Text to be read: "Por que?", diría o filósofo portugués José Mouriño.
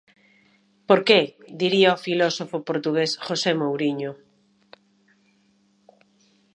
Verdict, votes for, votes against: accepted, 2, 0